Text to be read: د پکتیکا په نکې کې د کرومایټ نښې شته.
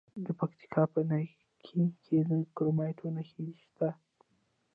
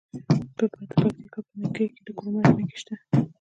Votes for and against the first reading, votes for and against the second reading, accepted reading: 2, 1, 1, 2, first